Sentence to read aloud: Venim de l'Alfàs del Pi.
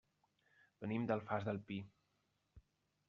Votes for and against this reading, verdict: 1, 2, rejected